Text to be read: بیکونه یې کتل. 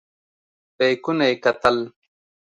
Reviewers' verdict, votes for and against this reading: accepted, 2, 0